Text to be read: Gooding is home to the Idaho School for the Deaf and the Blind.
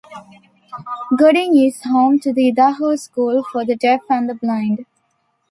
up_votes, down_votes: 0, 2